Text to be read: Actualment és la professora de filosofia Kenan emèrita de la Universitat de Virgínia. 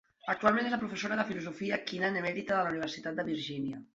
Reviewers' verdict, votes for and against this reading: accepted, 2, 0